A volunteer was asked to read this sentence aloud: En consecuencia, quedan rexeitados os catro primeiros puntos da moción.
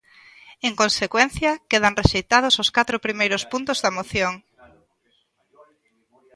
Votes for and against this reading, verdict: 0, 2, rejected